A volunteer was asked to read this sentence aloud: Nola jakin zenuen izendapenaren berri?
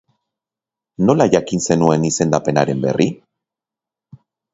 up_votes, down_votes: 2, 0